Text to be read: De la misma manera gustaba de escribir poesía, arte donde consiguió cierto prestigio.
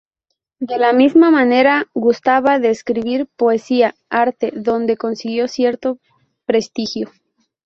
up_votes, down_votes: 4, 0